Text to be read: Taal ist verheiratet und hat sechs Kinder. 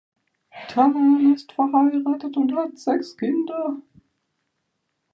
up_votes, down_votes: 1, 2